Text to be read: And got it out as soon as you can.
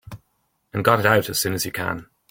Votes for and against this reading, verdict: 2, 0, accepted